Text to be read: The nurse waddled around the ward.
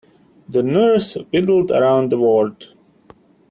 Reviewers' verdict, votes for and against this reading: rejected, 0, 2